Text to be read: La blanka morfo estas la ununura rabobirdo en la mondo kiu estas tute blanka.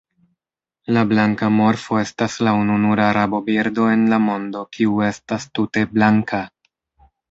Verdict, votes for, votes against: rejected, 1, 2